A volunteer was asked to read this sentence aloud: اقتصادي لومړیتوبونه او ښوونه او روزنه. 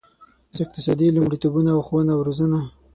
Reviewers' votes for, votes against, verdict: 3, 6, rejected